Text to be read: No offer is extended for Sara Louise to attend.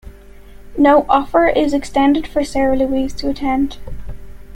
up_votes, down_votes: 1, 2